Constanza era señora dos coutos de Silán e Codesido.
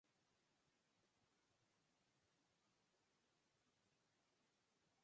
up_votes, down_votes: 0, 4